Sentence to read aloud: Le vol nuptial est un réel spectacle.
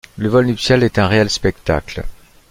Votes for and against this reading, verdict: 2, 0, accepted